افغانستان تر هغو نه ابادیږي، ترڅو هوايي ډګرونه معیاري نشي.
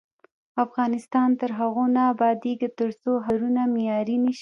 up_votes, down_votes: 1, 2